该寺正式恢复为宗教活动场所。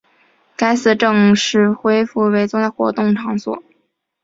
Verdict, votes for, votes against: rejected, 1, 2